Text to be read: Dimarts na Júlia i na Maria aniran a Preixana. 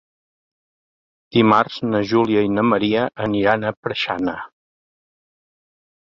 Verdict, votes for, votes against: accepted, 2, 0